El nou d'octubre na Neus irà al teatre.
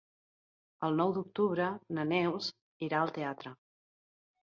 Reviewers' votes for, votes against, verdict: 3, 0, accepted